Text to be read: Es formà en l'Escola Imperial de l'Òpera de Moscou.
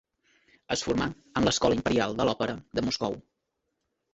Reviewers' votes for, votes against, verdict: 1, 2, rejected